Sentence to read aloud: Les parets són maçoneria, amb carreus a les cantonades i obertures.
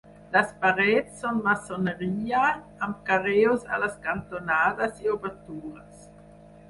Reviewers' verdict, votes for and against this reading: accepted, 4, 2